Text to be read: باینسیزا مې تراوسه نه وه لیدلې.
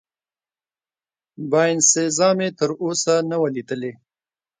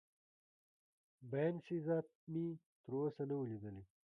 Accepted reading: first